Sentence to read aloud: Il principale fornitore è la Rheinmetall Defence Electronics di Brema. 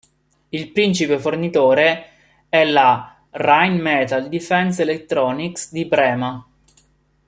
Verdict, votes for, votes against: rejected, 1, 2